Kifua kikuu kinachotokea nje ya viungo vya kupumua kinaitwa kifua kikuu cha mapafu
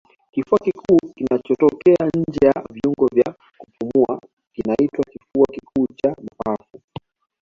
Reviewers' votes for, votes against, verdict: 2, 1, accepted